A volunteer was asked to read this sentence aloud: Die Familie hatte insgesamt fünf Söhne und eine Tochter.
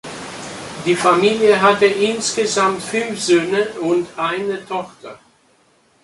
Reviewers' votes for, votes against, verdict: 2, 0, accepted